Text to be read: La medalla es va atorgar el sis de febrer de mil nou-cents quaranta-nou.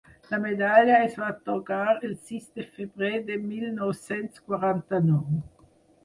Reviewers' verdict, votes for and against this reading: accepted, 4, 2